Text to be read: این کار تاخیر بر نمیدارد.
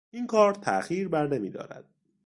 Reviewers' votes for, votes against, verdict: 2, 0, accepted